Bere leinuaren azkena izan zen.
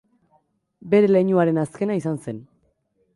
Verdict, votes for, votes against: accepted, 2, 1